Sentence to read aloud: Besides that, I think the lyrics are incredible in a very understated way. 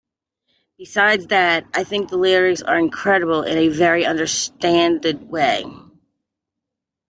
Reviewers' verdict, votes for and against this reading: rejected, 0, 2